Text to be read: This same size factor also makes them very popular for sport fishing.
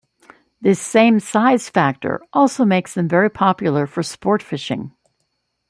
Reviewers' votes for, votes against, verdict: 2, 0, accepted